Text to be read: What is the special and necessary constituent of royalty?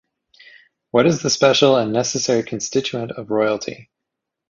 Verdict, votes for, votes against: accepted, 2, 0